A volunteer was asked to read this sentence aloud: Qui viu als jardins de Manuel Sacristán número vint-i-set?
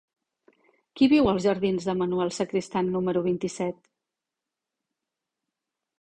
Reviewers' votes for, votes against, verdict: 3, 0, accepted